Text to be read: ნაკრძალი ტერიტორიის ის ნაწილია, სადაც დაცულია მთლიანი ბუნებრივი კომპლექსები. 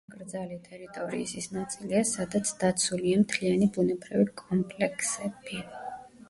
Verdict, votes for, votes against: rejected, 1, 2